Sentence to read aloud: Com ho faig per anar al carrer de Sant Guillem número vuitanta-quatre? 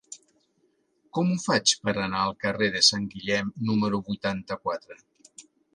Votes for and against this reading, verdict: 3, 0, accepted